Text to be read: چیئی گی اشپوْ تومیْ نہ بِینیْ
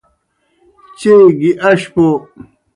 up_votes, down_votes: 0, 2